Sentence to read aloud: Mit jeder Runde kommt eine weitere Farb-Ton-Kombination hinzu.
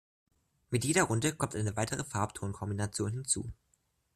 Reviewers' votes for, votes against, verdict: 2, 0, accepted